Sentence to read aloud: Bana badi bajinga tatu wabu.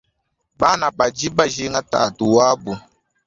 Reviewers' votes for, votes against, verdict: 2, 1, accepted